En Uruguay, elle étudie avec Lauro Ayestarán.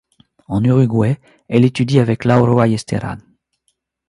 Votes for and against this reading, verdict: 2, 0, accepted